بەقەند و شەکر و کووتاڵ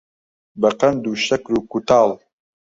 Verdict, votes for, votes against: rejected, 1, 2